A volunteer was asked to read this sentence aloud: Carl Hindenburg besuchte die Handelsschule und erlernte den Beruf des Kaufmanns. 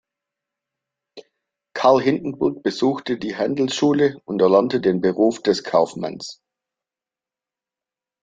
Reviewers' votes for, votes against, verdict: 2, 0, accepted